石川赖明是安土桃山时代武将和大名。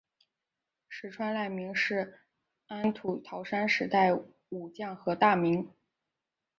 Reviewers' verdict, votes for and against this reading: accepted, 2, 1